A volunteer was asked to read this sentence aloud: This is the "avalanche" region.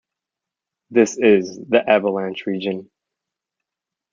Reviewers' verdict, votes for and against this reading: accepted, 2, 1